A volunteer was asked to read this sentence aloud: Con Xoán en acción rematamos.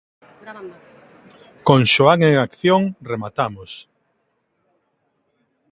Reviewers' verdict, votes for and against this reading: rejected, 1, 2